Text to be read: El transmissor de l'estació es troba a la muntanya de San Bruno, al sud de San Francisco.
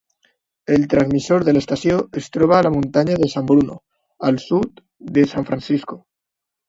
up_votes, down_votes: 3, 0